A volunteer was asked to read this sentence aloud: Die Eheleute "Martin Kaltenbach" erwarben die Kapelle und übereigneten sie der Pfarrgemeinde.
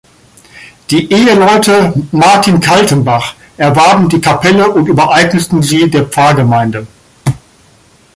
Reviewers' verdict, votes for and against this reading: accepted, 2, 0